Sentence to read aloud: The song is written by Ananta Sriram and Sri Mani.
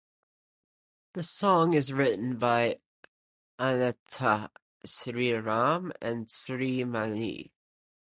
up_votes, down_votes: 0, 2